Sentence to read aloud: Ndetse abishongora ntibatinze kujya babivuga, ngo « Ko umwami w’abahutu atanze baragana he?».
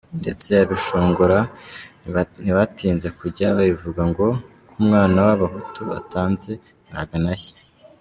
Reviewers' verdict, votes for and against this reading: accepted, 2, 0